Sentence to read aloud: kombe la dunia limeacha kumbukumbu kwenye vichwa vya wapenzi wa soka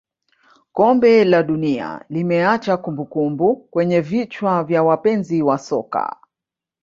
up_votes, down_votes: 3, 0